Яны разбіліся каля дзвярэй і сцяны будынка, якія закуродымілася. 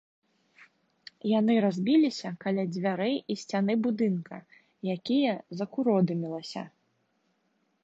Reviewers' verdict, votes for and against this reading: accepted, 2, 0